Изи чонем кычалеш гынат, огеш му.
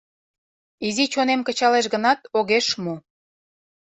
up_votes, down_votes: 2, 0